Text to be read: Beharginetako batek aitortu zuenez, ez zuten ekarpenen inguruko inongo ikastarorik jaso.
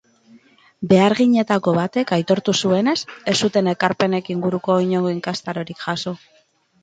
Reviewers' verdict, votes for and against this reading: rejected, 0, 2